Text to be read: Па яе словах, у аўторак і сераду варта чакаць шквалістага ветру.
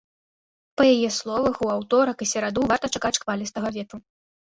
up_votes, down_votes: 1, 2